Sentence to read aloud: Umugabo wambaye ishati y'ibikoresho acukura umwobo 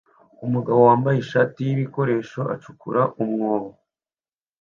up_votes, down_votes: 2, 0